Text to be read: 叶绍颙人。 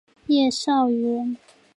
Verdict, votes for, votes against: rejected, 1, 3